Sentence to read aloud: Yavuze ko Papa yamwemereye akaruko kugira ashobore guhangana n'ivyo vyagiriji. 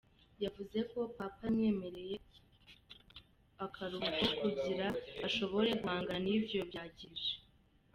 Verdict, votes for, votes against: rejected, 0, 2